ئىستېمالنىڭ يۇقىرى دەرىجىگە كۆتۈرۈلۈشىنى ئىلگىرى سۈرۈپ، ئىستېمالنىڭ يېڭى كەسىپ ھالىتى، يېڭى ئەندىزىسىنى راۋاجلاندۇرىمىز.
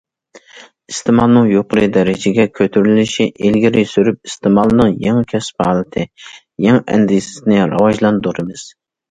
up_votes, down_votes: 0, 2